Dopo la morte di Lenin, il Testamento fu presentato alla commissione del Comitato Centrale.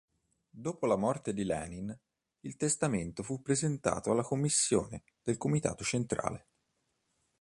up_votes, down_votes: 2, 0